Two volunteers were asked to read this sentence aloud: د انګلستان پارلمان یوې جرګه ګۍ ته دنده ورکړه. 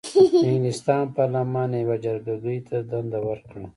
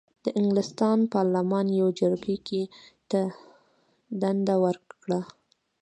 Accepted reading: first